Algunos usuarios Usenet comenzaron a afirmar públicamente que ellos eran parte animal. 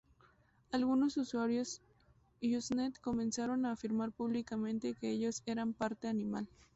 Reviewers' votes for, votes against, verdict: 0, 2, rejected